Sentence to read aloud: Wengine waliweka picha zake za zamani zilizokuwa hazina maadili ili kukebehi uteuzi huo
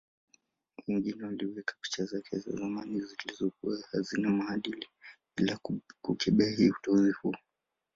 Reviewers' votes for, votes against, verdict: 0, 2, rejected